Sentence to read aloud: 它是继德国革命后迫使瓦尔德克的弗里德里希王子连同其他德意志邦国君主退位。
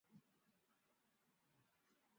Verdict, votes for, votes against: rejected, 0, 3